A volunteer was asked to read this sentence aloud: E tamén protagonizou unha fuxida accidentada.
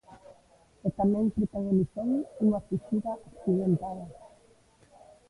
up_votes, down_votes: 1, 2